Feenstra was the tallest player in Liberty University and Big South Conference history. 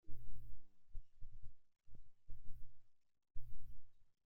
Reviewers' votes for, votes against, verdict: 1, 2, rejected